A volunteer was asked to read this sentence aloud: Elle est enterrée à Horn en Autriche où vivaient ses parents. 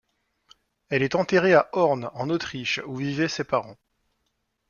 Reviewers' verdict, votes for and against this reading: accepted, 2, 0